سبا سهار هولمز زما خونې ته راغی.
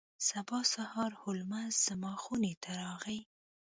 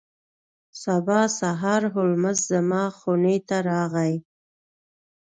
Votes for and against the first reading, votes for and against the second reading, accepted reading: 1, 2, 2, 0, second